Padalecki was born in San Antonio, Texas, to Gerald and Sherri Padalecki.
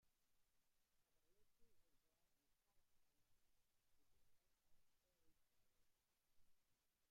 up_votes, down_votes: 0, 2